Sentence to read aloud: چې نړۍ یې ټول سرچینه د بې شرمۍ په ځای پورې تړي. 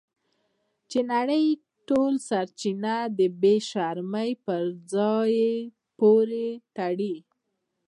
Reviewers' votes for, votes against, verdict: 2, 0, accepted